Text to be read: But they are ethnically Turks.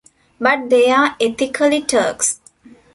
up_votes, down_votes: 1, 2